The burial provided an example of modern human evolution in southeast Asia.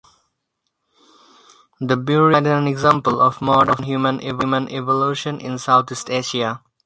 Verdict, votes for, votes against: rejected, 2, 4